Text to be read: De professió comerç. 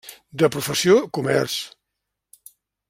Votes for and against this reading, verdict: 3, 0, accepted